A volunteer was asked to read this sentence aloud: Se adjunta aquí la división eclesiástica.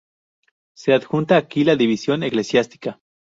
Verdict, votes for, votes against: rejected, 2, 2